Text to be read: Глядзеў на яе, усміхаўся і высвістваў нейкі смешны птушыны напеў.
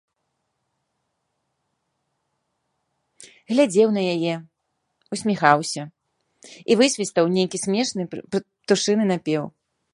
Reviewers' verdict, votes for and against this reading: rejected, 0, 3